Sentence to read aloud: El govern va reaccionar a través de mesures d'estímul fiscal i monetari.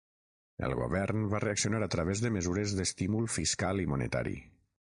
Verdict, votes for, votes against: accepted, 6, 0